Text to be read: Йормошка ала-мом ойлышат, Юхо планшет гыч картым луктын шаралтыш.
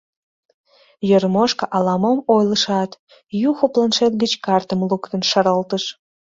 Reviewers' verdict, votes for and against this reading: accepted, 2, 0